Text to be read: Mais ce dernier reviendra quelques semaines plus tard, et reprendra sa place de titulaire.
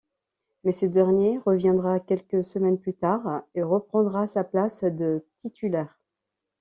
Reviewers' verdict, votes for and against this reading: rejected, 1, 2